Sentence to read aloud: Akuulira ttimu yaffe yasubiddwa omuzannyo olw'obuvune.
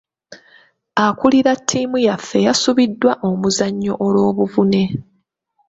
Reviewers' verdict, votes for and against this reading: accepted, 2, 1